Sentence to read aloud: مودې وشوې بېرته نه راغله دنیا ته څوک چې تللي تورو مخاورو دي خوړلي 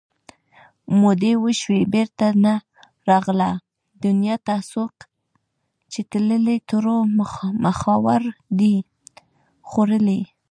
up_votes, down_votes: 2, 0